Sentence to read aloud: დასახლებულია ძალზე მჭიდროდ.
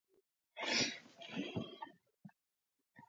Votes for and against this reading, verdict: 0, 2, rejected